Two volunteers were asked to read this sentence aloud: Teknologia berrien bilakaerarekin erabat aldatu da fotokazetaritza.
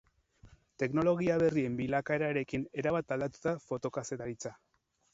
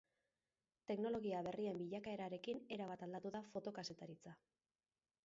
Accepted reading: second